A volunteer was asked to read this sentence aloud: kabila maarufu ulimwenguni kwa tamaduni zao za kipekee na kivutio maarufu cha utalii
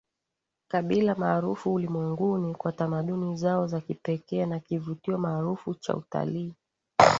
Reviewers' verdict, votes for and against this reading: accepted, 2, 0